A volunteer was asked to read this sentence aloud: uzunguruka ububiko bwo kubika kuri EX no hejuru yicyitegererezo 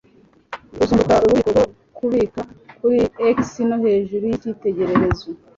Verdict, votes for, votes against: rejected, 1, 2